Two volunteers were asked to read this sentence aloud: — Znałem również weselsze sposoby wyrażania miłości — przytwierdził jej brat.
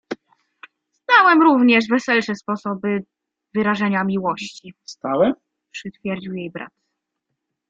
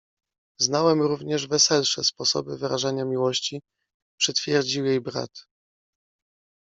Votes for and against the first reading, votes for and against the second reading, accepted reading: 1, 2, 2, 0, second